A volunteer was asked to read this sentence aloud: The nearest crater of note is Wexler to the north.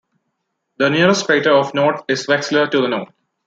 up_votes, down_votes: 2, 1